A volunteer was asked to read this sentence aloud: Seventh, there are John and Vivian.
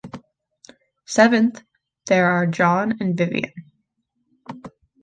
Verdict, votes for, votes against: accepted, 2, 0